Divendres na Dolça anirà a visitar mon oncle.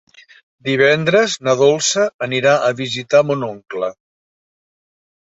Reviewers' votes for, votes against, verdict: 3, 0, accepted